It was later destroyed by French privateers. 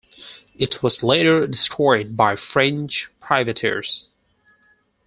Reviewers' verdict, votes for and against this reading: accepted, 4, 0